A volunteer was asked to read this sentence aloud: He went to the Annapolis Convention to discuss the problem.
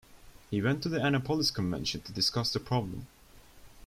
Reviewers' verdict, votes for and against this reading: accepted, 2, 0